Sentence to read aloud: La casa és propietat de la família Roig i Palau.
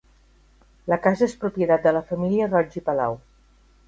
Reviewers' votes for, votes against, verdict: 5, 0, accepted